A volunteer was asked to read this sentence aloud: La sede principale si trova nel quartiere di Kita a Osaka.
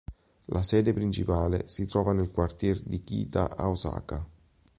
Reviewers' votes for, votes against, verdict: 2, 0, accepted